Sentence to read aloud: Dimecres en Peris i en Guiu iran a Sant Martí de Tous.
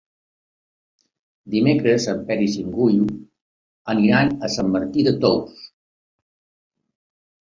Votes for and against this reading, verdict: 0, 2, rejected